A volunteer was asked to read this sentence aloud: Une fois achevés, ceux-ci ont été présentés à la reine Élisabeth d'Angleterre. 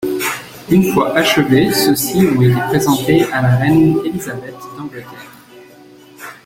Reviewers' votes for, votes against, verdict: 2, 1, accepted